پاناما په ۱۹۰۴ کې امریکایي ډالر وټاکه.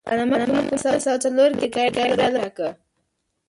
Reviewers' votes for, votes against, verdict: 0, 2, rejected